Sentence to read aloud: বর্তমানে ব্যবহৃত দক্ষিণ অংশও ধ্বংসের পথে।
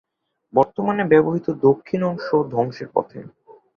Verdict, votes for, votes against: accepted, 8, 0